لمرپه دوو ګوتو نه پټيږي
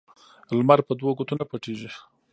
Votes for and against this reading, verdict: 0, 2, rejected